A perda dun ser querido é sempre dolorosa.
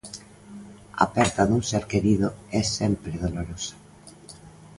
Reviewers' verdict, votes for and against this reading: accepted, 2, 0